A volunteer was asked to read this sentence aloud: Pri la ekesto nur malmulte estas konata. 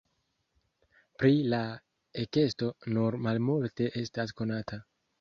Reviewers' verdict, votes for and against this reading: accepted, 2, 0